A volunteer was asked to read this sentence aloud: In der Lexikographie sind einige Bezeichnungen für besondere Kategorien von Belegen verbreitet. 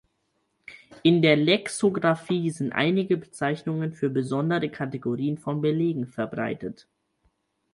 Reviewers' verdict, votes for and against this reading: rejected, 2, 4